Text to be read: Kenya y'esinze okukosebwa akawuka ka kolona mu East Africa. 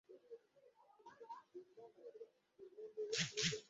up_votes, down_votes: 0, 2